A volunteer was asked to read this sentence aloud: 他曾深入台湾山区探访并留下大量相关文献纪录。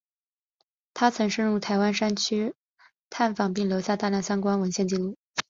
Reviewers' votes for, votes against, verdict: 5, 1, accepted